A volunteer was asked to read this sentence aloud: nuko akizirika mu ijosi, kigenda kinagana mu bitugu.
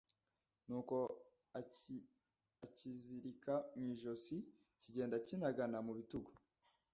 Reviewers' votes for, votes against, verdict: 0, 2, rejected